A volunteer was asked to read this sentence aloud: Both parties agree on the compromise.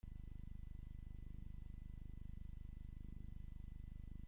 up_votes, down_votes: 0, 2